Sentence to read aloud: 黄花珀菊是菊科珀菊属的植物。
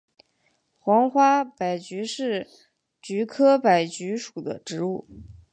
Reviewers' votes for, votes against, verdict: 1, 2, rejected